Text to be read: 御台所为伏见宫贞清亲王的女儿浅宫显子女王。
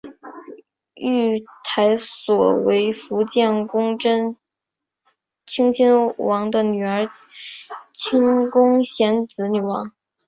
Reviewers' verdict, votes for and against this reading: rejected, 0, 2